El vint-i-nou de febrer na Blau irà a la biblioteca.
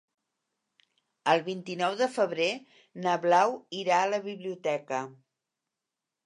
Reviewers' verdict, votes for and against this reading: accepted, 4, 0